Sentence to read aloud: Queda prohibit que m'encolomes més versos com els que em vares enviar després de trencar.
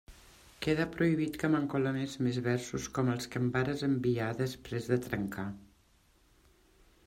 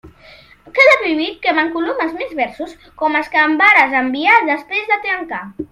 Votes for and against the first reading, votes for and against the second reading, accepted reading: 2, 0, 1, 2, first